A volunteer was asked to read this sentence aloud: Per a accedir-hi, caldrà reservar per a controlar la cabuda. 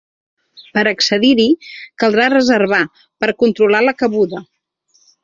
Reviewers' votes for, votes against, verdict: 2, 1, accepted